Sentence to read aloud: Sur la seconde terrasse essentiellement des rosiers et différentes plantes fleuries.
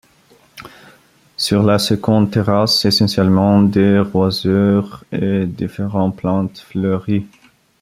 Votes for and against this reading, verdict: 0, 2, rejected